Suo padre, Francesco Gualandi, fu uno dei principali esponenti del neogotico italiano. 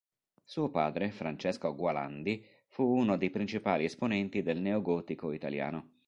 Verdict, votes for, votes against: accepted, 2, 0